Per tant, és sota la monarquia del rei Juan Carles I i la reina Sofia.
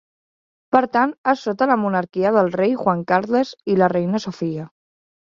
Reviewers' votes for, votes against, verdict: 0, 2, rejected